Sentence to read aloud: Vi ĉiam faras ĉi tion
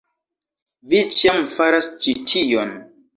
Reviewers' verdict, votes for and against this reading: accepted, 2, 1